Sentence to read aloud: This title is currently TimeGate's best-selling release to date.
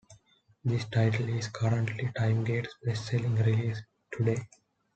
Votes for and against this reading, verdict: 2, 0, accepted